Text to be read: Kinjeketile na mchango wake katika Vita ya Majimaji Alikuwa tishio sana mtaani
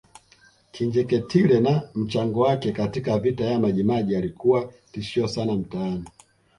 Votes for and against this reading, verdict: 2, 1, accepted